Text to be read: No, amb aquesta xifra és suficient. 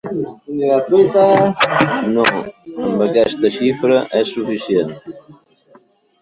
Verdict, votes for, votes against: rejected, 0, 2